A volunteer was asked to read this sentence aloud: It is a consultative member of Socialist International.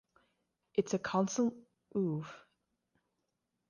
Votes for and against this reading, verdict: 0, 3, rejected